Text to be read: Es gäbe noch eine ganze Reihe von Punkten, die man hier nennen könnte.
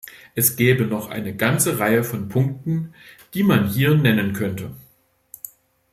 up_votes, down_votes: 2, 0